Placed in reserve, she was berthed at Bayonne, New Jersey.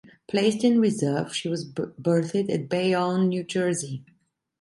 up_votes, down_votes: 0, 2